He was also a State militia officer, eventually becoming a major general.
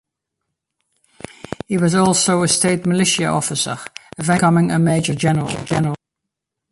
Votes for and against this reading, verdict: 0, 2, rejected